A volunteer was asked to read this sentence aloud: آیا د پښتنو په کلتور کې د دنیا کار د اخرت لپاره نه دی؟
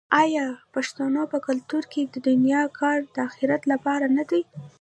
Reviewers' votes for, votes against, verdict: 1, 2, rejected